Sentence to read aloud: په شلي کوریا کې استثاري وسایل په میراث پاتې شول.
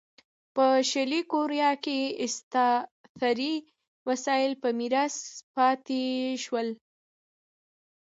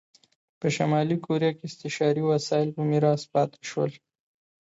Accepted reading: second